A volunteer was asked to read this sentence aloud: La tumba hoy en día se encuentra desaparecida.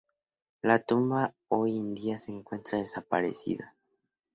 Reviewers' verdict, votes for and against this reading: accepted, 2, 0